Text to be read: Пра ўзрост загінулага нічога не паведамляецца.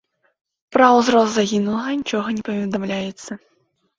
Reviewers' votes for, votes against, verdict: 2, 0, accepted